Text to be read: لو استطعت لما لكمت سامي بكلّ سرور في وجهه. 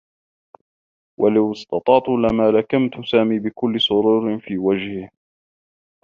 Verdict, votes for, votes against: accepted, 3, 1